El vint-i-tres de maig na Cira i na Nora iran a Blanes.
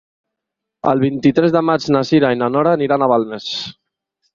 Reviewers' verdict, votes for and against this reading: rejected, 0, 2